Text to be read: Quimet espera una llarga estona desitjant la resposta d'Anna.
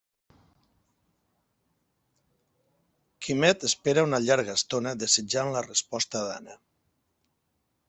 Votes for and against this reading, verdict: 4, 0, accepted